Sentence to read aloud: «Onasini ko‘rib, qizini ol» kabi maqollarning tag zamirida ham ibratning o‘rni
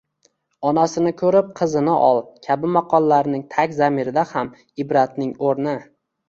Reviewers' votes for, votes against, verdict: 2, 0, accepted